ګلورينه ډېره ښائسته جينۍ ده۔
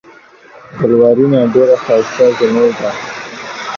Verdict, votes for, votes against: rejected, 1, 2